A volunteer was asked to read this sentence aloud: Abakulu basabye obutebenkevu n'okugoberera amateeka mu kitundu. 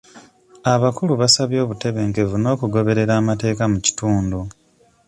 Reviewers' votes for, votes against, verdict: 2, 1, accepted